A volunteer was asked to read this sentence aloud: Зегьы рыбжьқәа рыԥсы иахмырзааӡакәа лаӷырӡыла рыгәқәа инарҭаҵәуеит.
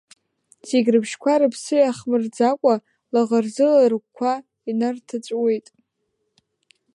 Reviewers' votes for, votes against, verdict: 1, 2, rejected